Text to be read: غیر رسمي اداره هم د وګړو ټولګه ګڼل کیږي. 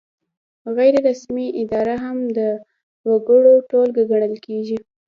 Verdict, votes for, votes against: accepted, 2, 0